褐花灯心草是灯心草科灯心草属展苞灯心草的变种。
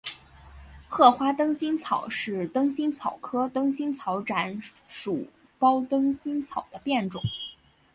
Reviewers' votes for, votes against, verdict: 1, 3, rejected